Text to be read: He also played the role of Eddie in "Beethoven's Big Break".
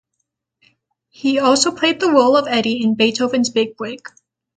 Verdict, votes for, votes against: accepted, 6, 0